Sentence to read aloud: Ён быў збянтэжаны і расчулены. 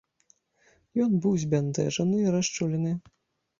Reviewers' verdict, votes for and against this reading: accepted, 2, 0